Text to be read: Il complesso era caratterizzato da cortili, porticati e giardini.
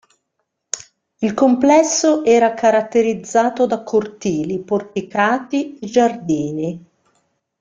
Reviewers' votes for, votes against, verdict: 1, 2, rejected